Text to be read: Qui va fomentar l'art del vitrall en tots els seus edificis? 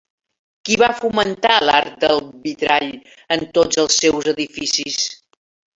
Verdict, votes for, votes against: accepted, 3, 1